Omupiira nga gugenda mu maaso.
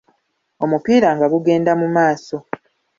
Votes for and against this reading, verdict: 2, 1, accepted